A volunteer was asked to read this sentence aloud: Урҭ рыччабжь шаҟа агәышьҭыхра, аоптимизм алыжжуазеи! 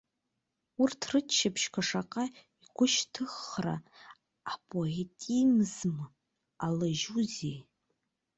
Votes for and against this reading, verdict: 0, 2, rejected